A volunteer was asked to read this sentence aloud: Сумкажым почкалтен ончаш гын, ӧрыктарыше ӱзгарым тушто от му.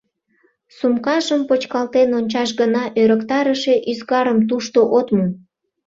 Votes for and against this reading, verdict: 1, 2, rejected